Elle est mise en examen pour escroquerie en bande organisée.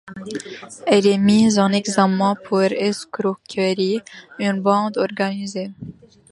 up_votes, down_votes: 2, 0